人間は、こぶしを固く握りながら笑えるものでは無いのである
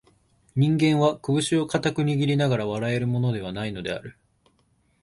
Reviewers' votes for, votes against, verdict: 3, 0, accepted